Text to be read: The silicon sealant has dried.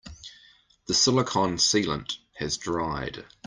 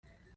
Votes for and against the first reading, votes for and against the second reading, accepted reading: 2, 0, 0, 3, first